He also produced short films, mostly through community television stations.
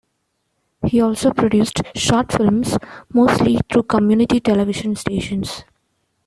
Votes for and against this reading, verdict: 2, 0, accepted